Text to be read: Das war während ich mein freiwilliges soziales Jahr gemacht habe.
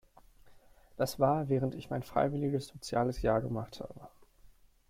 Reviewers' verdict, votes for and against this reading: accepted, 2, 0